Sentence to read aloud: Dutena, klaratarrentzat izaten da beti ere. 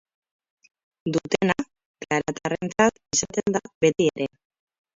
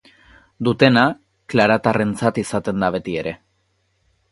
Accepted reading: second